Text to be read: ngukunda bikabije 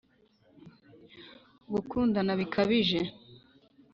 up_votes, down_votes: 1, 2